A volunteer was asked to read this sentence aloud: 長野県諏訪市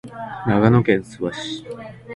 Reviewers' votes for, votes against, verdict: 3, 0, accepted